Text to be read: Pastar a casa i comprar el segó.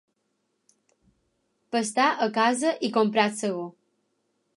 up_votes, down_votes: 4, 0